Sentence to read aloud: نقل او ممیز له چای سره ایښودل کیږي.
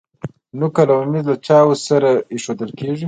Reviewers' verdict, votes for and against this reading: accepted, 2, 0